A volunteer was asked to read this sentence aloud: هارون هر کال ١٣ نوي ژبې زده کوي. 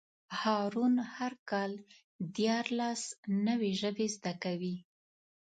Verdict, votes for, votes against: rejected, 0, 2